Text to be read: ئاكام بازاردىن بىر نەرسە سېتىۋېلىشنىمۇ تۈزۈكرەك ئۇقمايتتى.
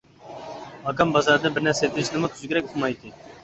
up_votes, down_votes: 0, 2